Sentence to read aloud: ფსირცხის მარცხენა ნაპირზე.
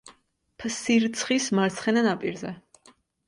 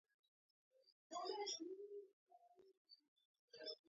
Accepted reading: first